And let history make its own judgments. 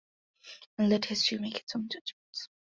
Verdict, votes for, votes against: accepted, 2, 1